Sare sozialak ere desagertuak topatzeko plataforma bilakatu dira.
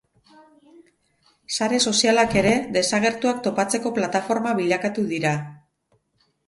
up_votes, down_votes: 0, 2